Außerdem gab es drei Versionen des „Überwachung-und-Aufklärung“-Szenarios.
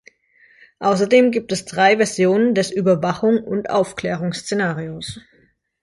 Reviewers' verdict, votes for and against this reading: rejected, 0, 2